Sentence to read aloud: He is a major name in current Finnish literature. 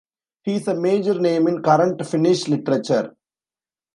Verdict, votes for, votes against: accepted, 2, 0